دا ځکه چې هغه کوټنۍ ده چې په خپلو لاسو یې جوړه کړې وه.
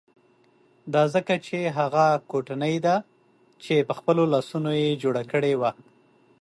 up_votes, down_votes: 2, 0